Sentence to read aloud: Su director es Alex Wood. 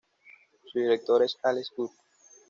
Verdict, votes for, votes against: accepted, 2, 0